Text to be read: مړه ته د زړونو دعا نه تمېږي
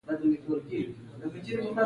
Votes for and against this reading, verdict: 2, 0, accepted